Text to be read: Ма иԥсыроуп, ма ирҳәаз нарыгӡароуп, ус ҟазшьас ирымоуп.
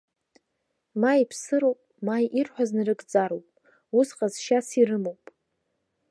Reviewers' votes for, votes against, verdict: 2, 0, accepted